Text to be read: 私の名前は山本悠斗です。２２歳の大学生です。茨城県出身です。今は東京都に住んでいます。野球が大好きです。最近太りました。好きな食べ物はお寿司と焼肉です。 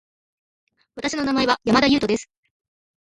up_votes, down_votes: 0, 2